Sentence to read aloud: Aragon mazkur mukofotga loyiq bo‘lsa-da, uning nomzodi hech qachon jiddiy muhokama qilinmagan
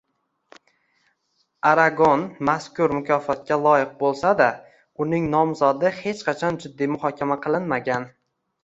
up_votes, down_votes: 1, 2